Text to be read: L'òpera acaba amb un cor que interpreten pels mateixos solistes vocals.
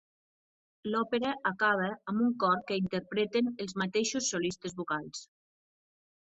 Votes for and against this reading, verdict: 1, 2, rejected